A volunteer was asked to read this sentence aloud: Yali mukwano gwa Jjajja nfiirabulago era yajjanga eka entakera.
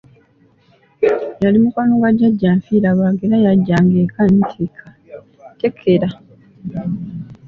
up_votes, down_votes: 1, 2